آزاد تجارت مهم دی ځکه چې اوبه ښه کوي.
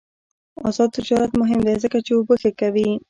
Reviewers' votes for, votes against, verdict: 2, 0, accepted